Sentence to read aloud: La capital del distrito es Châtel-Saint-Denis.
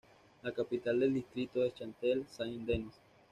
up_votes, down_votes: 2, 1